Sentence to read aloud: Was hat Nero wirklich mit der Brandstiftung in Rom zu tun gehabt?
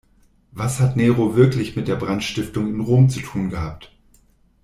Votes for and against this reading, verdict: 3, 0, accepted